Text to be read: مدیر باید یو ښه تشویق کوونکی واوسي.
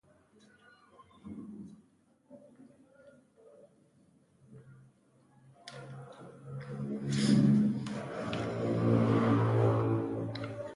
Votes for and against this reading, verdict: 0, 2, rejected